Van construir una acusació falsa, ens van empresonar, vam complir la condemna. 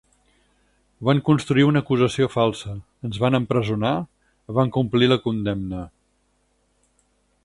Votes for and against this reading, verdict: 4, 0, accepted